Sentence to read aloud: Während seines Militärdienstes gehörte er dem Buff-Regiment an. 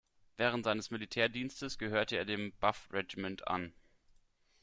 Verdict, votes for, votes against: accepted, 2, 1